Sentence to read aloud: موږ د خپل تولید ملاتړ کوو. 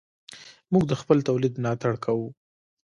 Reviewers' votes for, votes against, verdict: 2, 1, accepted